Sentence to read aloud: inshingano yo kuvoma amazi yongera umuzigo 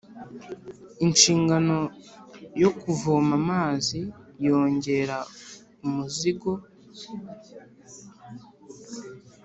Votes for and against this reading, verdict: 2, 0, accepted